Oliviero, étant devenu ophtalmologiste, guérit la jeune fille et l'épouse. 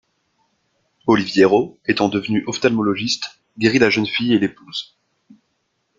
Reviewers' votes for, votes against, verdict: 2, 0, accepted